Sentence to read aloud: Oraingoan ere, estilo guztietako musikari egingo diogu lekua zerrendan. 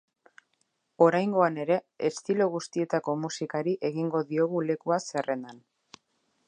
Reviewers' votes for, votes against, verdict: 2, 0, accepted